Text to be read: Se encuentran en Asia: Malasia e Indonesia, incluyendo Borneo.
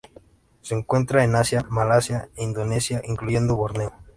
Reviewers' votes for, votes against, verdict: 2, 0, accepted